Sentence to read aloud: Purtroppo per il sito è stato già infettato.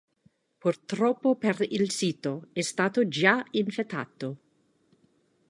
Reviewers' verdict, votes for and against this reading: accepted, 3, 0